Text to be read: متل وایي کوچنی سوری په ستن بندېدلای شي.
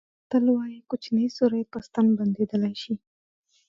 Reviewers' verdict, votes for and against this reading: rejected, 0, 2